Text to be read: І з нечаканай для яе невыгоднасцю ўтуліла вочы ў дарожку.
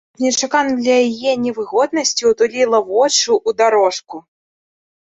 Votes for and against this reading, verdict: 0, 2, rejected